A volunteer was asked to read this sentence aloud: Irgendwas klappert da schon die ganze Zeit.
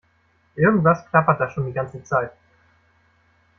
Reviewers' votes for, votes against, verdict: 2, 1, accepted